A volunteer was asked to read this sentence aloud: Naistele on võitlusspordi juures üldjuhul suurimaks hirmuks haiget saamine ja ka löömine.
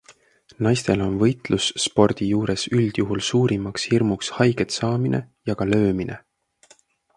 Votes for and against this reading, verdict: 2, 0, accepted